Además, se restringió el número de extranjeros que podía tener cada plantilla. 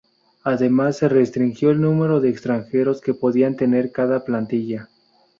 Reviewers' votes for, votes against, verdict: 0, 2, rejected